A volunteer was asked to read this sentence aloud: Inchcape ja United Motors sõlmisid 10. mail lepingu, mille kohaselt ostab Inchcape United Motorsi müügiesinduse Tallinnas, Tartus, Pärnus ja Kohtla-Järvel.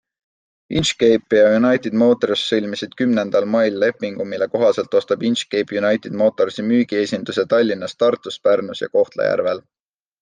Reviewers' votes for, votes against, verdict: 0, 2, rejected